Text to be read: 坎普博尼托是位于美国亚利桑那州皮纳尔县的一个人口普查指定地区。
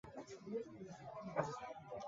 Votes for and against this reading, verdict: 0, 2, rejected